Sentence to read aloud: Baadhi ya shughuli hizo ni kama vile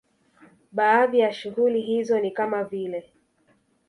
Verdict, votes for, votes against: rejected, 1, 2